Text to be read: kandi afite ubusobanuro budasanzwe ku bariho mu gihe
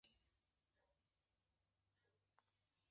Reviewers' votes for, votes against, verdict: 0, 2, rejected